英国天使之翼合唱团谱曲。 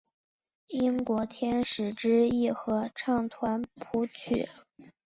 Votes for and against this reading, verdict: 2, 0, accepted